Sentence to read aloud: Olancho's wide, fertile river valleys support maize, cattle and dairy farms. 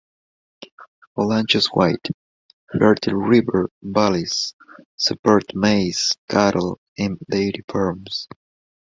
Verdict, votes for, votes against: rejected, 1, 2